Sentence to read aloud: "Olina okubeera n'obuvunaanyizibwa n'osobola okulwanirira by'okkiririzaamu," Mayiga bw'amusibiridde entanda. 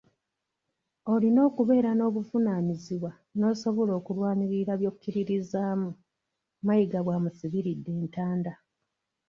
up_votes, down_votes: 2, 1